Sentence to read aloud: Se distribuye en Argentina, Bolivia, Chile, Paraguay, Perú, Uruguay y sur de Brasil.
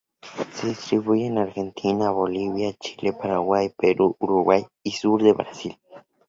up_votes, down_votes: 2, 0